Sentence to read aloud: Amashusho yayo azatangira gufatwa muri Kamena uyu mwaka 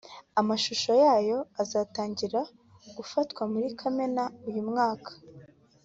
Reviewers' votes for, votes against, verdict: 2, 1, accepted